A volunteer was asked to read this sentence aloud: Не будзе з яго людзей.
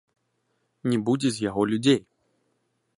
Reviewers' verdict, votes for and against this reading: accepted, 2, 0